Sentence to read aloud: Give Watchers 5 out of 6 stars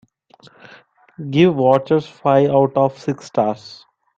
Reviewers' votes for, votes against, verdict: 0, 2, rejected